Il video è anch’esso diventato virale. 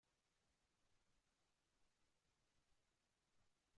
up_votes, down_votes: 0, 2